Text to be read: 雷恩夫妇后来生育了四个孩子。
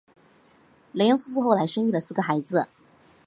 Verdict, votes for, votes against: accepted, 3, 0